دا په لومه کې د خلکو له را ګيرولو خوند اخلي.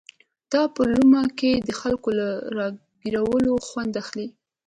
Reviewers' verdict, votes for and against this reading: accepted, 2, 0